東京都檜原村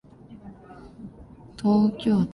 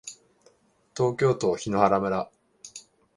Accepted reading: second